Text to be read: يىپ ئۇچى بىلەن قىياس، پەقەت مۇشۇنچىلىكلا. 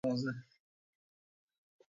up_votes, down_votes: 0, 2